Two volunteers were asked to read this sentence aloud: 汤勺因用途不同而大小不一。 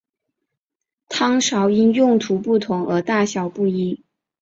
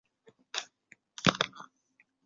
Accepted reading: first